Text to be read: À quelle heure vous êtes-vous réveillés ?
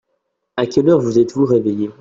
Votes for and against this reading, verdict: 2, 0, accepted